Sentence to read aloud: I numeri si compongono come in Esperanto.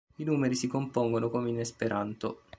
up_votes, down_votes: 2, 0